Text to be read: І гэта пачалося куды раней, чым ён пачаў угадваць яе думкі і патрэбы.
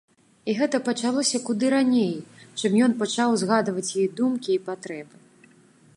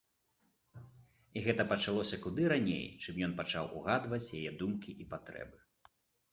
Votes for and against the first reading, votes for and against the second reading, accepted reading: 0, 2, 2, 0, second